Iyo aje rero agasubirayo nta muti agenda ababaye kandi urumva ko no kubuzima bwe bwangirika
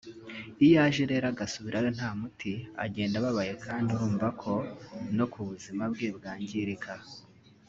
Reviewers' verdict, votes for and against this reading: accepted, 2, 0